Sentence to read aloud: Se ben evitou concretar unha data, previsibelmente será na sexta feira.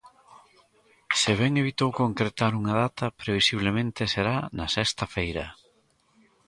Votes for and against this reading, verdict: 1, 2, rejected